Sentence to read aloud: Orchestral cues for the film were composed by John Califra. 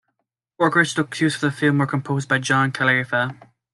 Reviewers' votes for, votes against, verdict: 1, 2, rejected